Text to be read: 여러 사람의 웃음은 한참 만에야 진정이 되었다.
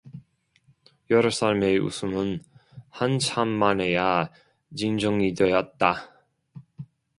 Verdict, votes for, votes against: rejected, 0, 2